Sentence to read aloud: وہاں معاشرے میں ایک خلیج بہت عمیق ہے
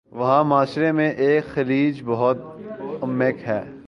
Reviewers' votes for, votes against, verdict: 1, 2, rejected